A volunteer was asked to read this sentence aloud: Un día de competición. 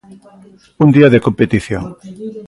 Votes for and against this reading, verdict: 0, 2, rejected